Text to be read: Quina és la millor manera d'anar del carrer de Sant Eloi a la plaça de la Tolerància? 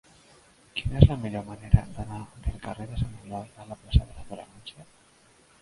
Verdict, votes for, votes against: rejected, 0, 2